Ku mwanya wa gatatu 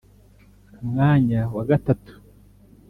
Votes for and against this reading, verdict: 2, 0, accepted